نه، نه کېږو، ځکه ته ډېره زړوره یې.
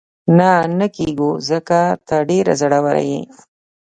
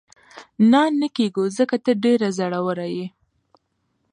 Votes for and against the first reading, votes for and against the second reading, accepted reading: 1, 2, 2, 0, second